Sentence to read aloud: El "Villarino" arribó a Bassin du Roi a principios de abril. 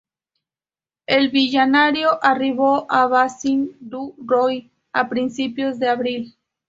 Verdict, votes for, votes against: accepted, 2, 0